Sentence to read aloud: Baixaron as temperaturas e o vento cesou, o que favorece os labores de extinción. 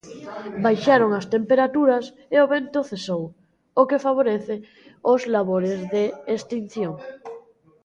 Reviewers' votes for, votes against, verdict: 0, 2, rejected